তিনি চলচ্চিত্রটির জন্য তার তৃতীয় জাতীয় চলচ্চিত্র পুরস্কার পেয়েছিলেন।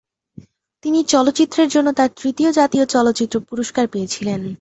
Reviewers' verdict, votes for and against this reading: accepted, 8, 5